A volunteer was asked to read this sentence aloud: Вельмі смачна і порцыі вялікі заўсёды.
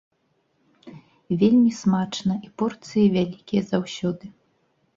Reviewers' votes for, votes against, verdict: 1, 2, rejected